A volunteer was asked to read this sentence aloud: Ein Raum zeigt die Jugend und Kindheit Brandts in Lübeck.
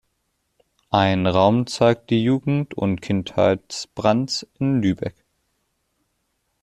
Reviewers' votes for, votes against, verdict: 0, 2, rejected